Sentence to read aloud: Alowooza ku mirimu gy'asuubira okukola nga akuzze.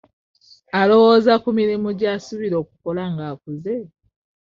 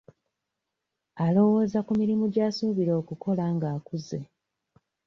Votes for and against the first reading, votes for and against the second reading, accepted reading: 0, 2, 2, 0, second